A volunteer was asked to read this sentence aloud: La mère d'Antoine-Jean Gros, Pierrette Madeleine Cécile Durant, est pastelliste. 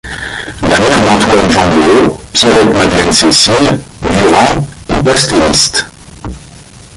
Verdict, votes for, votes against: rejected, 0, 2